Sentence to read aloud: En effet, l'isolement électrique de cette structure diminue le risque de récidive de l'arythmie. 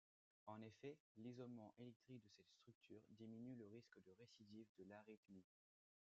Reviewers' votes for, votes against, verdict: 2, 0, accepted